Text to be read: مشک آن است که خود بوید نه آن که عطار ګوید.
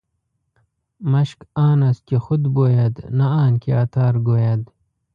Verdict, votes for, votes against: rejected, 1, 2